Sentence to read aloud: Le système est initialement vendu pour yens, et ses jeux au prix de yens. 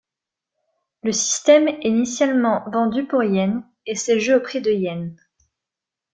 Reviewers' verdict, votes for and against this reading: accepted, 2, 0